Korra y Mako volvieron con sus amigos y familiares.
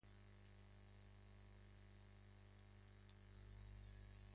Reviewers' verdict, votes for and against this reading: rejected, 0, 2